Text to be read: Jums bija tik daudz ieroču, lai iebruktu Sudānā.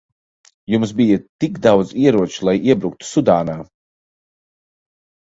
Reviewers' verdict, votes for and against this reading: rejected, 1, 2